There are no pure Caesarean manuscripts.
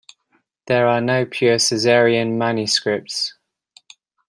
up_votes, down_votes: 2, 0